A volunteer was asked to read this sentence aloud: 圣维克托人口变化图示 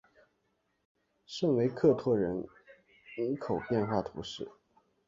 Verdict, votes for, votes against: rejected, 1, 2